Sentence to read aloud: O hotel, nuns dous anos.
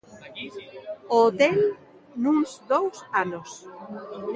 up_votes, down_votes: 2, 0